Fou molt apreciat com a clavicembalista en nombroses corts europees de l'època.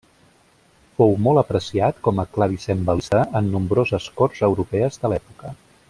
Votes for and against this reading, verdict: 0, 2, rejected